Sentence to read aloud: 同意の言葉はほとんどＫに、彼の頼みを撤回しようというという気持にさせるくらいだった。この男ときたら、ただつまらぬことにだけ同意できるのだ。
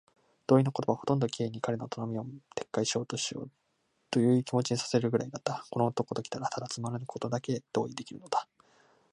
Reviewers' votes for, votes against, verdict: 1, 2, rejected